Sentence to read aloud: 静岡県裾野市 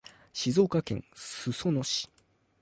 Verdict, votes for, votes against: accepted, 2, 0